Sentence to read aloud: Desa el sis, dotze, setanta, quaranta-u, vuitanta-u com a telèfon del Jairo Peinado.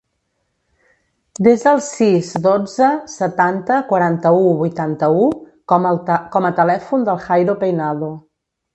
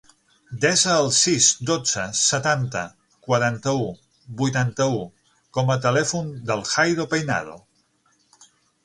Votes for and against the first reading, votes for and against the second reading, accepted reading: 1, 2, 9, 0, second